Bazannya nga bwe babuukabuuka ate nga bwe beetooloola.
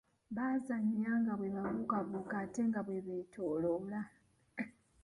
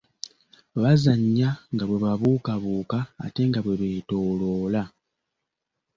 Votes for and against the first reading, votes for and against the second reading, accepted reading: 0, 2, 2, 0, second